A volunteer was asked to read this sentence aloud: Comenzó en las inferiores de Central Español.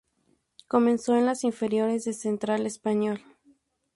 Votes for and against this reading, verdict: 2, 0, accepted